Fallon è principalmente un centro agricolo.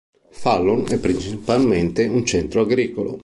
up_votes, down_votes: 1, 2